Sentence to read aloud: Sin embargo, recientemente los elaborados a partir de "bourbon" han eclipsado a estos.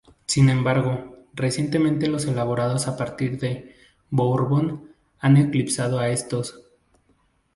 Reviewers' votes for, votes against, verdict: 0, 2, rejected